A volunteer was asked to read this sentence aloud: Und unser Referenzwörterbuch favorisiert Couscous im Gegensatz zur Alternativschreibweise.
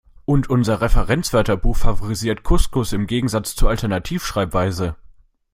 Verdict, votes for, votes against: accepted, 2, 0